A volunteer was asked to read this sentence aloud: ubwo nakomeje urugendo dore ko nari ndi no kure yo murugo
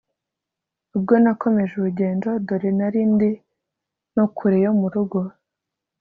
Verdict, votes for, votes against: accepted, 2, 0